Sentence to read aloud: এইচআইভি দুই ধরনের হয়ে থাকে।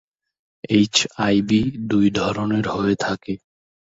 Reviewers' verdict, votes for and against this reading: accepted, 2, 0